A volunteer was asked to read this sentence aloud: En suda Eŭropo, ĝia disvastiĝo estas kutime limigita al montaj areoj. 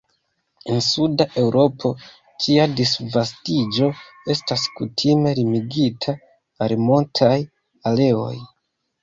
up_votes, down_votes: 2, 0